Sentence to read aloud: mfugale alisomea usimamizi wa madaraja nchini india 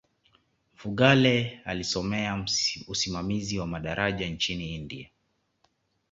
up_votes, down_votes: 2, 0